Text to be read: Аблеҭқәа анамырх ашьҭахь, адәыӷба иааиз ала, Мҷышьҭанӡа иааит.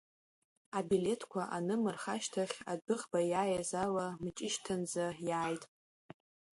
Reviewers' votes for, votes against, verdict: 1, 2, rejected